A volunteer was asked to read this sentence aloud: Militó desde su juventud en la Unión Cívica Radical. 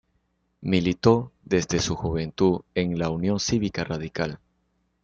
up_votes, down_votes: 2, 0